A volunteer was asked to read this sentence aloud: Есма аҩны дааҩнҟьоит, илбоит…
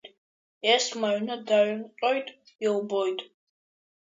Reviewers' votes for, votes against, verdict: 2, 0, accepted